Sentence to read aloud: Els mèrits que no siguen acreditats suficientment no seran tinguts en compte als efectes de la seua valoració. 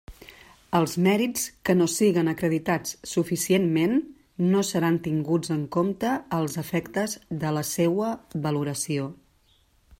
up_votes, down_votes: 2, 0